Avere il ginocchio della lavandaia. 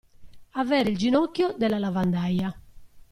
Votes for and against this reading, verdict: 2, 0, accepted